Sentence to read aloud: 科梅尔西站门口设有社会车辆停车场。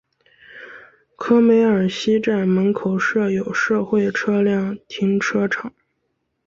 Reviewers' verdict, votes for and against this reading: accepted, 3, 1